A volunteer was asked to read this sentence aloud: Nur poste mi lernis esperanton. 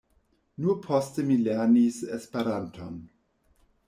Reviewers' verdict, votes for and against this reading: rejected, 1, 2